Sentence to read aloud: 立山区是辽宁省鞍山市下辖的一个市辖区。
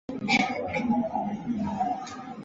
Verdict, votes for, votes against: rejected, 0, 5